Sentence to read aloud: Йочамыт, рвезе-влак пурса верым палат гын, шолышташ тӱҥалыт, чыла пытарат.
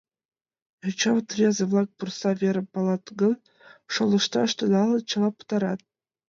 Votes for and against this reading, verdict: 1, 2, rejected